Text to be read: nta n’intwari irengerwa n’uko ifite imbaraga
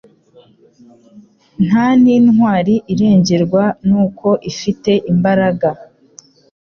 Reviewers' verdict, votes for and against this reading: accepted, 2, 0